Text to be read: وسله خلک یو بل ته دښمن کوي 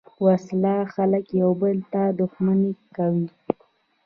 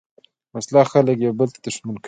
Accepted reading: second